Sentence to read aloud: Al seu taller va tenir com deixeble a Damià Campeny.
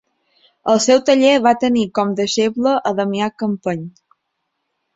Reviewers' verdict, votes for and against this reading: accepted, 4, 0